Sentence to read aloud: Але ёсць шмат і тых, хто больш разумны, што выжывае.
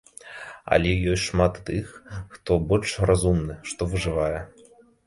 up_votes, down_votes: 0, 2